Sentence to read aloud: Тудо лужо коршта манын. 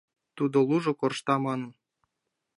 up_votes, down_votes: 2, 0